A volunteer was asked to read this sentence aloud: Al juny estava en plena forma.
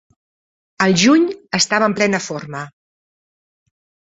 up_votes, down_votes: 3, 0